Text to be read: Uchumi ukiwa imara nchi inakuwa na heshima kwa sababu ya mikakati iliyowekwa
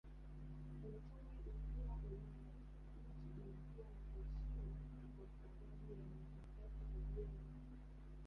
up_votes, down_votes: 0, 3